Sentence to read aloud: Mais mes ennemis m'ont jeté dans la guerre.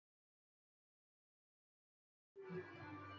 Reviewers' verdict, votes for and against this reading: rejected, 0, 2